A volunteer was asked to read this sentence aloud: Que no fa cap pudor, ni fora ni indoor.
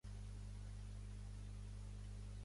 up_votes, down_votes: 0, 2